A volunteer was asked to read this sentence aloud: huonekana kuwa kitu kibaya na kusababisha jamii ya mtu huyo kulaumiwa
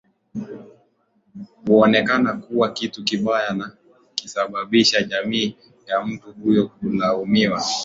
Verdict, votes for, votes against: accepted, 2, 0